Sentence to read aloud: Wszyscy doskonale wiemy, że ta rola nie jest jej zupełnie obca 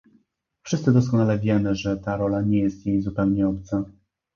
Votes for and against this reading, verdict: 2, 0, accepted